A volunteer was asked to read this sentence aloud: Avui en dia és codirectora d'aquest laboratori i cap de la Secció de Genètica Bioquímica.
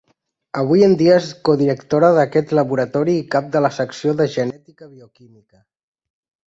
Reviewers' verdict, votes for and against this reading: rejected, 1, 2